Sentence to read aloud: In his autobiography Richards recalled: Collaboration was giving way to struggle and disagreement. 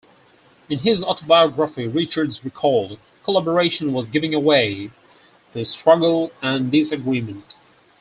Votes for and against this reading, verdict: 0, 4, rejected